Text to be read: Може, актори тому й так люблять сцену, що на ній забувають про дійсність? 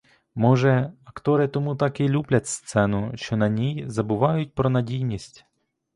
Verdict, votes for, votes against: rejected, 1, 2